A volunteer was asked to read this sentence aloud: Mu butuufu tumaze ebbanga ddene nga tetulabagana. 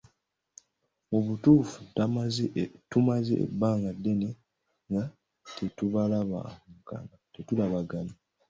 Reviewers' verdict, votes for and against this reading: rejected, 0, 2